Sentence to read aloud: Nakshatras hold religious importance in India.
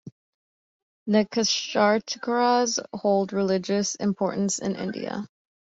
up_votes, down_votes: 1, 2